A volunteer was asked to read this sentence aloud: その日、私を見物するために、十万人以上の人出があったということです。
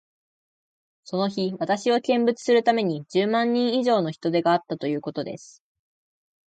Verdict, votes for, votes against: accepted, 2, 0